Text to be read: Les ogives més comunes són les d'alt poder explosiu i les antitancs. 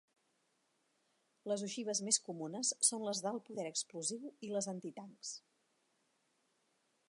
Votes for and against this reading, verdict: 2, 0, accepted